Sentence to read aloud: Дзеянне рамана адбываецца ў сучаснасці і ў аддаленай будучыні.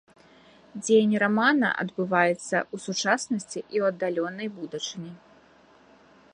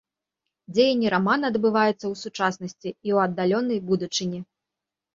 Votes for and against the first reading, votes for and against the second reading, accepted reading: 0, 2, 2, 0, second